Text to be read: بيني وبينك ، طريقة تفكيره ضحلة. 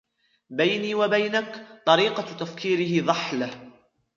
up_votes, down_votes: 1, 2